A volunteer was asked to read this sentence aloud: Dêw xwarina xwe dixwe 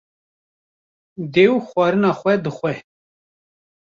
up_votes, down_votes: 3, 0